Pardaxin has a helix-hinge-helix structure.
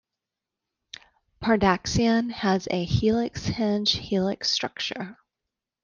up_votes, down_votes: 0, 2